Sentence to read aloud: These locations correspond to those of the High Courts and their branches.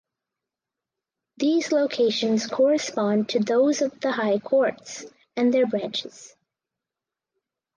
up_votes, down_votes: 4, 0